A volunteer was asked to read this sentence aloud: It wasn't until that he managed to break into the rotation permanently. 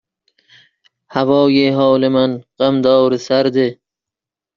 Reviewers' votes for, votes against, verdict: 0, 2, rejected